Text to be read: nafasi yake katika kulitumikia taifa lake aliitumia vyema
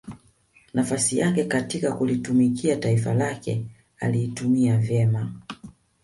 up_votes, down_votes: 0, 2